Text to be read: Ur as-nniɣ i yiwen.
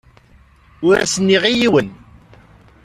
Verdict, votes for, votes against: accepted, 2, 0